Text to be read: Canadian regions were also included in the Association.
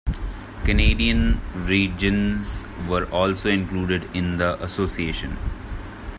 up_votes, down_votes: 2, 0